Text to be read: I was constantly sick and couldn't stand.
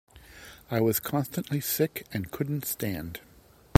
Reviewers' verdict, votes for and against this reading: accepted, 2, 0